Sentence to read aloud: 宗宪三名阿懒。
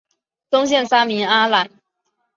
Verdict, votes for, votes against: accepted, 3, 1